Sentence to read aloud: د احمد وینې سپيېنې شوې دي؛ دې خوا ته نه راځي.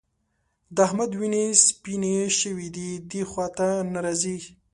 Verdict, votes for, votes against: accepted, 2, 0